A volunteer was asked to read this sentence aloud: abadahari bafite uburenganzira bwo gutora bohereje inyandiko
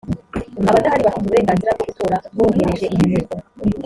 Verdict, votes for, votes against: rejected, 1, 3